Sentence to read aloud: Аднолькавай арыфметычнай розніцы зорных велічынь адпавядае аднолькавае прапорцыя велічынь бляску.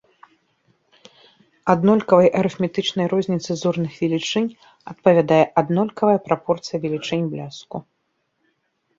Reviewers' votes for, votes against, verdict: 2, 0, accepted